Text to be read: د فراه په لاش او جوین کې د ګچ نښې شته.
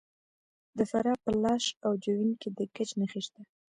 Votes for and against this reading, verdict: 0, 2, rejected